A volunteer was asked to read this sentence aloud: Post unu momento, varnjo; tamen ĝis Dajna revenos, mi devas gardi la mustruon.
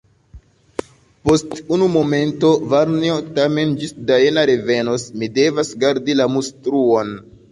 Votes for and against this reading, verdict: 2, 0, accepted